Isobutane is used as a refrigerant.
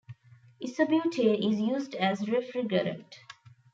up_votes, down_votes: 1, 2